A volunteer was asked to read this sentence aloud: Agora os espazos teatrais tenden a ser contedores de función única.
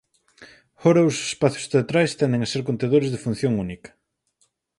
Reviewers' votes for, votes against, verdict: 4, 2, accepted